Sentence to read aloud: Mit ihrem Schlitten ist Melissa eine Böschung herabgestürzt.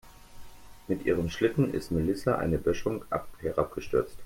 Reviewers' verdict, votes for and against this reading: rejected, 0, 2